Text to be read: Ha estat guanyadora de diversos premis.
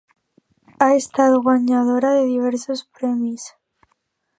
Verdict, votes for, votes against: accepted, 2, 0